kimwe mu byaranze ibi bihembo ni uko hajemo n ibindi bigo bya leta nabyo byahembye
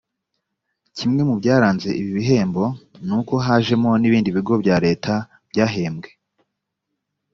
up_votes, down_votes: 1, 2